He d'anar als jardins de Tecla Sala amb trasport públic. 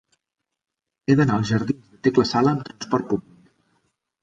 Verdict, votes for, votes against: rejected, 1, 2